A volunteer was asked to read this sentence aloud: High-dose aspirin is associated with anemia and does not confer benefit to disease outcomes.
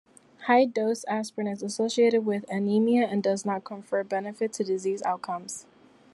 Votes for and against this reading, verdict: 2, 0, accepted